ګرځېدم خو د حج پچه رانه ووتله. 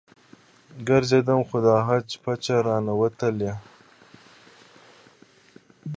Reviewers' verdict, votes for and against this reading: accepted, 3, 0